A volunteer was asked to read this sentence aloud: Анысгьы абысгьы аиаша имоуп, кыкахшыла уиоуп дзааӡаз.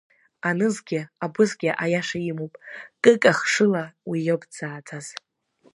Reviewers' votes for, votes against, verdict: 0, 2, rejected